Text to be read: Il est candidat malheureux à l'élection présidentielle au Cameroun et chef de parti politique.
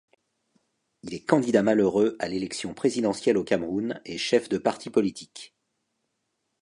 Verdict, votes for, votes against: accepted, 2, 0